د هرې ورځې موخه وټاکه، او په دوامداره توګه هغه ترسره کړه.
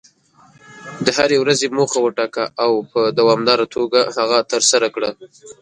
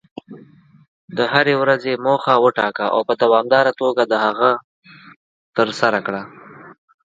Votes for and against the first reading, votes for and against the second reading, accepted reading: 2, 0, 1, 2, first